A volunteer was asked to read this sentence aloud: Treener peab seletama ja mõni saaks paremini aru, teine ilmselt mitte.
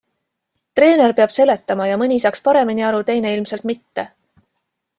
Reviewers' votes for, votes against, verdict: 2, 0, accepted